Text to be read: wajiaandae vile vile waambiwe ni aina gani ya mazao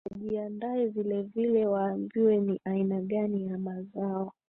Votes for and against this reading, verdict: 1, 3, rejected